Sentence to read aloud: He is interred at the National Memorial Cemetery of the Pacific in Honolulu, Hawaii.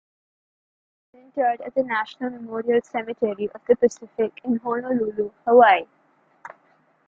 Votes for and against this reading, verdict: 1, 2, rejected